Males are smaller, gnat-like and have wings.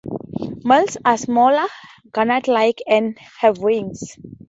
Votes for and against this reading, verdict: 2, 0, accepted